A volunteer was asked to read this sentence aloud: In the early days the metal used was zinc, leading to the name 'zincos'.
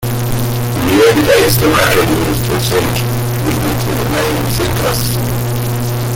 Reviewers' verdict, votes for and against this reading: rejected, 0, 2